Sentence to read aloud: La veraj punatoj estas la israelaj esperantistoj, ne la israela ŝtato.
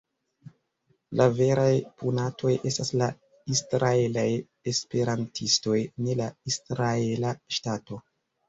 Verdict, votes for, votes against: accepted, 2, 0